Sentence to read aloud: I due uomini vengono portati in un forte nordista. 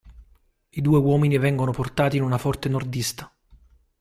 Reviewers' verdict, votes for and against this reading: rejected, 0, 2